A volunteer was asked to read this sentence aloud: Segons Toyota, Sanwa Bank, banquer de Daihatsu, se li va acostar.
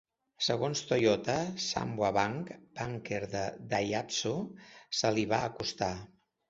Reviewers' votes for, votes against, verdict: 0, 2, rejected